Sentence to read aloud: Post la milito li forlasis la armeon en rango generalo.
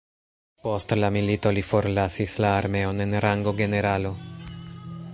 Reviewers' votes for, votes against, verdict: 2, 0, accepted